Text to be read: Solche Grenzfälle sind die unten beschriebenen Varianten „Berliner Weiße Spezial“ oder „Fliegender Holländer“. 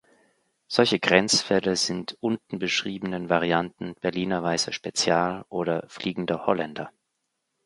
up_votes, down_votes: 0, 2